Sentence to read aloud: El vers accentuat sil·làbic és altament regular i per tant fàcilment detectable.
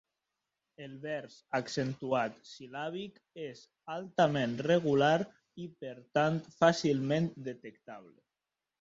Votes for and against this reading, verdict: 0, 2, rejected